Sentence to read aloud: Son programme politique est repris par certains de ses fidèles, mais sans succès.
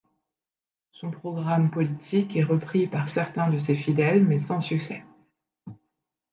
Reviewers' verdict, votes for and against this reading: accepted, 2, 0